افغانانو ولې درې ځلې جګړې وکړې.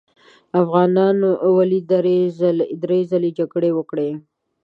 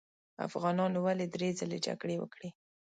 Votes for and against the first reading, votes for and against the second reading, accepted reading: 0, 2, 2, 0, second